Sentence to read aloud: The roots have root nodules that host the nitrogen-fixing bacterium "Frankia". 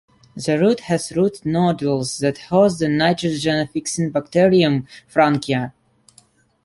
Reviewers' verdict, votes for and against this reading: rejected, 1, 2